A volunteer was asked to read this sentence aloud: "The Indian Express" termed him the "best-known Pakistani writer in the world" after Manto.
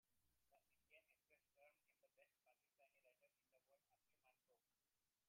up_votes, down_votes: 0, 2